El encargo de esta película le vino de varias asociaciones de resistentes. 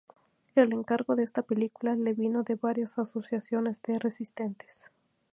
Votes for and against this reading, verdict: 2, 0, accepted